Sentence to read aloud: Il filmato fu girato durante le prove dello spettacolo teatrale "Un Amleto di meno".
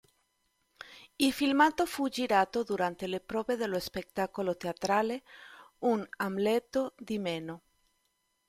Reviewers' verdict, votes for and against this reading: accepted, 2, 0